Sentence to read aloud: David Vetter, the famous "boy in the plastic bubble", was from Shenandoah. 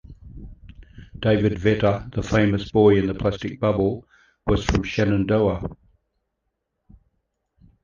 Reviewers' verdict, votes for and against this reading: accepted, 2, 0